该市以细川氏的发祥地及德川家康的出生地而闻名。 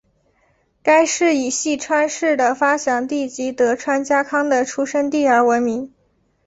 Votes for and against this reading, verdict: 4, 1, accepted